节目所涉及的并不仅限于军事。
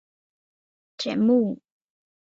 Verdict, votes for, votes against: accepted, 3, 2